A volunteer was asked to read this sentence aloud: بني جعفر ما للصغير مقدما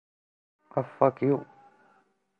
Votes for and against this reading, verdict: 0, 2, rejected